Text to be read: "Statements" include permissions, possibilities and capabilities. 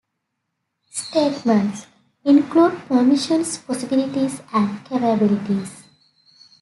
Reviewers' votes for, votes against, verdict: 2, 0, accepted